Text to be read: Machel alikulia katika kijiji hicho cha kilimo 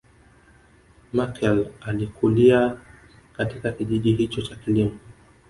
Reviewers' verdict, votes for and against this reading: accepted, 2, 0